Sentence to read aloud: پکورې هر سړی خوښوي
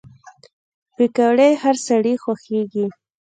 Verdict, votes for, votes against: accepted, 2, 0